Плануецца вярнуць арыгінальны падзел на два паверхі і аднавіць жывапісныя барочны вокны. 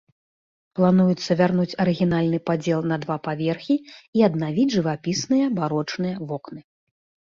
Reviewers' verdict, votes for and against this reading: rejected, 0, 2